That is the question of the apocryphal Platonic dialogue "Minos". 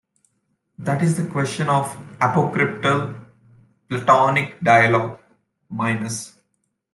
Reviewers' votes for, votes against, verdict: 1, 2, rejected